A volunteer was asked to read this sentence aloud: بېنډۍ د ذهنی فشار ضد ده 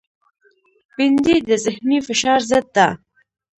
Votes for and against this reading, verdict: 2, 0, accepted